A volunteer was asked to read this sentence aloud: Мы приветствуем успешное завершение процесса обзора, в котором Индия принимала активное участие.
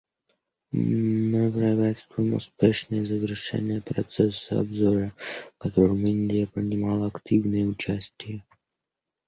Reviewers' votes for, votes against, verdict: 1, 2, rejected